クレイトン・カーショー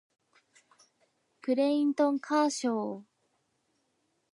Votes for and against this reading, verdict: 0, 2, rejected